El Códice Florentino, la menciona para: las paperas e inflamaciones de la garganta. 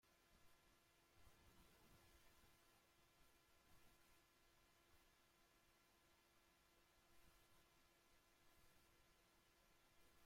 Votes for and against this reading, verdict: 0, 2, rejected